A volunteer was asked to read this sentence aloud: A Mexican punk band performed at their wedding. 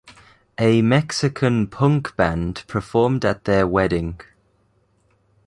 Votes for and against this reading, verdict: 2, 1, accepted